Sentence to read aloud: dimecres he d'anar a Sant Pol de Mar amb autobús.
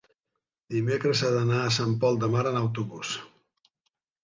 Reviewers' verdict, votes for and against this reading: rejected, 1, 2